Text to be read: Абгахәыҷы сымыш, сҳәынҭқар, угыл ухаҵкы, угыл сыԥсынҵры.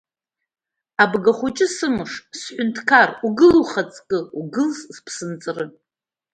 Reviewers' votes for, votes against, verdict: 1, 2, rejected